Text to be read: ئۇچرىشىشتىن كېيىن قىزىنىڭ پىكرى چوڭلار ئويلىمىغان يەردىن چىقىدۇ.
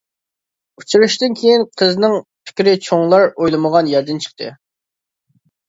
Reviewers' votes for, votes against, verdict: 0, 2, rejected